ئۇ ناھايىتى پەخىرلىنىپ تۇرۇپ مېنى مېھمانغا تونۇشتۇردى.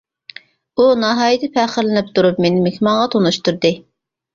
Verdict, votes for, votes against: accepted, 2, 0